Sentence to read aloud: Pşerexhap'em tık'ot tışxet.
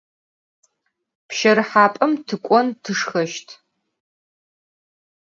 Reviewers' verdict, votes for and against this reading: rejected, 2, 4